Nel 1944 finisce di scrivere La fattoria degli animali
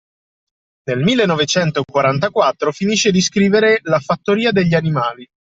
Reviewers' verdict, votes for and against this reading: rejected, 0, 2